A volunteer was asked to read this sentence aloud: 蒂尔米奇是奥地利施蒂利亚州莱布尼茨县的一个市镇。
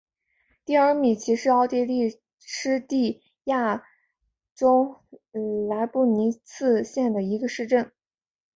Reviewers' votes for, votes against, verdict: 0, 2, rejected